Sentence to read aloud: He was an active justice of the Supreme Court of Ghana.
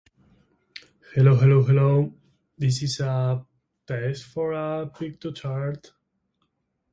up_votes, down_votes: 0, 2